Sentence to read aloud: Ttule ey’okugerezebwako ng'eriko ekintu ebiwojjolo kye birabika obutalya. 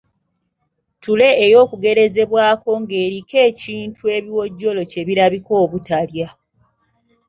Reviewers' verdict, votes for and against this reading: accepted, 2, 0